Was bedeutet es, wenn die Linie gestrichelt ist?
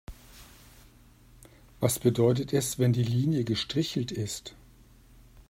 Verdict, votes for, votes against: accepted, 2, 0